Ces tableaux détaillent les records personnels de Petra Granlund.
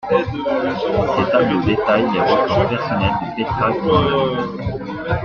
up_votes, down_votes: 0, 2